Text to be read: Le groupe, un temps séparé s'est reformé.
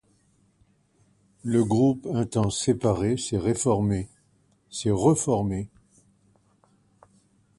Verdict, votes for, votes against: rejected, 1, 2